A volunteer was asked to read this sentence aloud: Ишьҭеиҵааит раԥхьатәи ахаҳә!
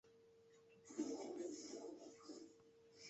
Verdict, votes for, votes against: rejected, 0, 2